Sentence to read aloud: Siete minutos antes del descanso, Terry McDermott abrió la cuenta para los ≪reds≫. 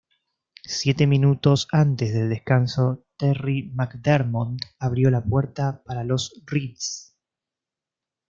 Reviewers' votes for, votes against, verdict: 1, 2, rejected